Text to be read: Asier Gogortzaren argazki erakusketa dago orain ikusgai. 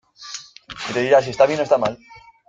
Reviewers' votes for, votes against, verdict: 0, 2, rejected